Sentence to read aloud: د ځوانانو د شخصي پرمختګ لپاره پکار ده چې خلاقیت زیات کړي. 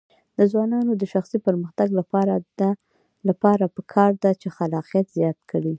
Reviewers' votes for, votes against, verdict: 2, 1, accepted